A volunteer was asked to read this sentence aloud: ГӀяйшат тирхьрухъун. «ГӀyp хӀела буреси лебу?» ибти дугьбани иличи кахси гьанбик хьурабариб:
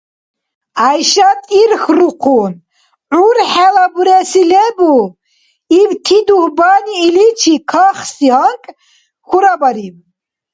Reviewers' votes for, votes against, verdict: 0, 2, rejected